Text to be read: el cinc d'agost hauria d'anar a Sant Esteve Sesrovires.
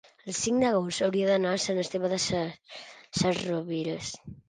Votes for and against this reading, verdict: 0, 2, rejected